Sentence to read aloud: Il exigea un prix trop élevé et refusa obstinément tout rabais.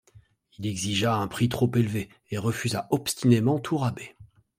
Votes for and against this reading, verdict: 2, 0, accepted